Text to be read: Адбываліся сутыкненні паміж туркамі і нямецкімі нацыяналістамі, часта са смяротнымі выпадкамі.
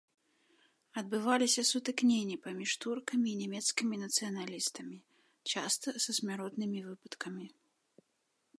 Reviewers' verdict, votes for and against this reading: rejected, 1, 2